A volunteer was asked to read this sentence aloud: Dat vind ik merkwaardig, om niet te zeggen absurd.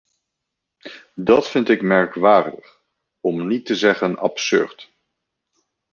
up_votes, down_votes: 2, 0